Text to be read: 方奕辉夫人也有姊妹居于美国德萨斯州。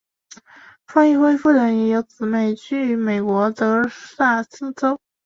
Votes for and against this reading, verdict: 3, 1, accepted